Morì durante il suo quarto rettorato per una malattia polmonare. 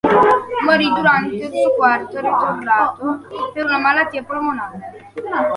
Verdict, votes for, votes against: rejected, 0, 2